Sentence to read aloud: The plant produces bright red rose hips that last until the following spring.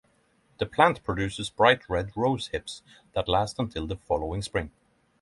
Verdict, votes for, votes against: accepted, 3, 0